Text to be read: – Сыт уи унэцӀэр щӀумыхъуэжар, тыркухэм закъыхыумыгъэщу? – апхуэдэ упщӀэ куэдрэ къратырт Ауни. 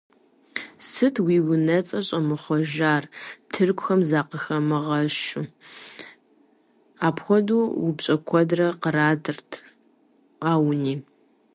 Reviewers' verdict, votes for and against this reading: accepted, 2, 0